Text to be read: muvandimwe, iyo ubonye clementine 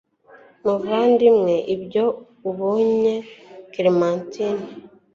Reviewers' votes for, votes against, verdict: 2, 0, accepted